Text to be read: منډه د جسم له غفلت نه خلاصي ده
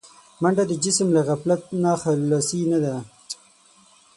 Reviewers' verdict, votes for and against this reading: rejected, 3, 6